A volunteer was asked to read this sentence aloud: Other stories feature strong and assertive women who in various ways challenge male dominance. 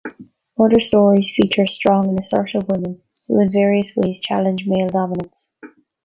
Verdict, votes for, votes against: accepted, 2, 1